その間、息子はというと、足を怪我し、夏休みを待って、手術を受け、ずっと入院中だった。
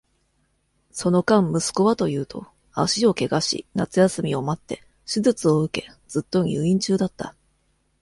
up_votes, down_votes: 2, 0